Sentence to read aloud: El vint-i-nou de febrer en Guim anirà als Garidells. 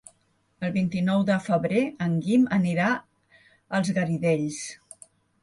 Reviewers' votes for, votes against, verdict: 3, 0, accepted